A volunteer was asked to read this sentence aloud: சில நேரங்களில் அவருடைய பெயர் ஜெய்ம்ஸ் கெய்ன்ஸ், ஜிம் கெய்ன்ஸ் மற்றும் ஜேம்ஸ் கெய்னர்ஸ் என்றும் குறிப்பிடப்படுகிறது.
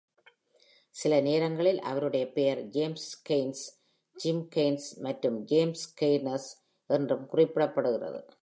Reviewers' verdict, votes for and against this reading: accepted, 2, 0